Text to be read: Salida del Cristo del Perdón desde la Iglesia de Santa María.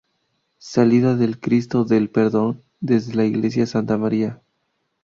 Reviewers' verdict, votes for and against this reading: rejected, 0, 2